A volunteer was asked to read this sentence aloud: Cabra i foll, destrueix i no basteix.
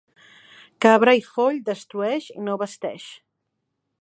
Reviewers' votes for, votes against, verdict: 0, 2, rejected